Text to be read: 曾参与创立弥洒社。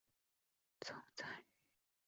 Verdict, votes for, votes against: rejected, 0, 2